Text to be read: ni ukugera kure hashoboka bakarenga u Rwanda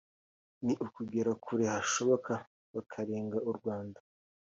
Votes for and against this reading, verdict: 2, 0, accepted